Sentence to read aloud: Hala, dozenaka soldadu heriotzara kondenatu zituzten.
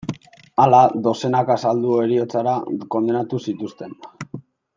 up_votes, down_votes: 0, 2